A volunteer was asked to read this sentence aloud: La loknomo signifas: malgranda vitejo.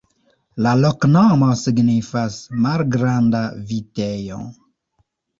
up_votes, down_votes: 0, 2